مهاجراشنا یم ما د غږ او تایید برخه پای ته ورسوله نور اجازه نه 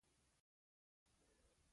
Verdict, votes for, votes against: rejected, 0, 2